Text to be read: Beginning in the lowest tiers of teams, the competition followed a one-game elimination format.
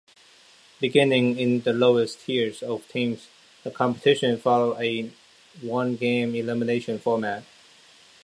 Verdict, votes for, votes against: accepted, 2, 0